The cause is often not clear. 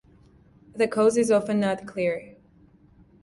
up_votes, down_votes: 2, 0